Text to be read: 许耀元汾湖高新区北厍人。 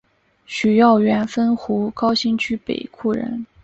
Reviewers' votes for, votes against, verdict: 2, 1, accepted